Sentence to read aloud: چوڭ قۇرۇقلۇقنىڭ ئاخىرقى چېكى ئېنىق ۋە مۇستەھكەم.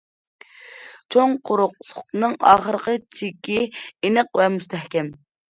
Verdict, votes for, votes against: accepted, 2, 0